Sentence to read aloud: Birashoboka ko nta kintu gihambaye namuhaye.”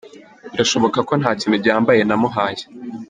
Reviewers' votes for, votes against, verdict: 0, 2, rejected